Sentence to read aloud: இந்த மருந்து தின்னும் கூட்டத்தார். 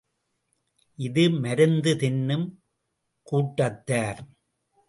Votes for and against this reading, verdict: 2, 0, accepted